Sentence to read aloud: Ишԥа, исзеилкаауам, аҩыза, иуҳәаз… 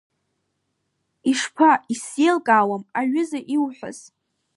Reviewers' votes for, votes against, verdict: 2, 1, accepted